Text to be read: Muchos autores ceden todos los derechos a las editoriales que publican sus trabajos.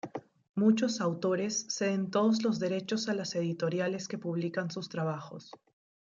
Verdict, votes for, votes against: rejected, 1, 2